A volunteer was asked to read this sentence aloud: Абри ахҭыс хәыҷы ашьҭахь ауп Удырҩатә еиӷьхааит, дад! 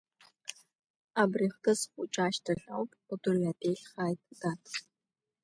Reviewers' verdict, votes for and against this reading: rejected, 1, 2